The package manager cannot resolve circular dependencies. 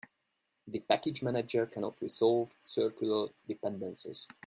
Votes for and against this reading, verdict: 1, 2, rejected